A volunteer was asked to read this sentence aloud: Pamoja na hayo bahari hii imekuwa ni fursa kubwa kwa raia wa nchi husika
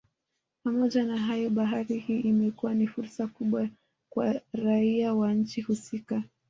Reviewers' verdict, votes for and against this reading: rejected, 0, 2